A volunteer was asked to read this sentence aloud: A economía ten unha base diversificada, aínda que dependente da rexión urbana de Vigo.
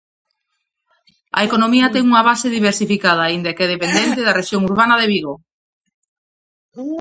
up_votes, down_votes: 0, 2